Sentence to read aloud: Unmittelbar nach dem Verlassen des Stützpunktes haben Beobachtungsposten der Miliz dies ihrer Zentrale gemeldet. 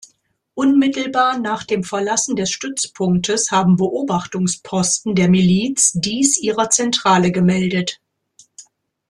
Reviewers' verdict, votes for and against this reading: accepted, 2, 0